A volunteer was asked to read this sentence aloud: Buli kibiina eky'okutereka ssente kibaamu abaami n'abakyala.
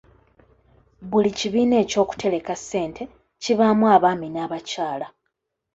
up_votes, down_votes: 2, 0